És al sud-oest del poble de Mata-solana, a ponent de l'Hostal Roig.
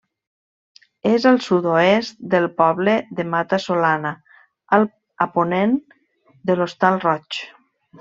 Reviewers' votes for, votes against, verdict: 1, 2, rejected